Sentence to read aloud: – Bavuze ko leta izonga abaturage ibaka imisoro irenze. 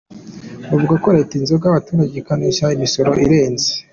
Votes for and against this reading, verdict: 2, 0, accepted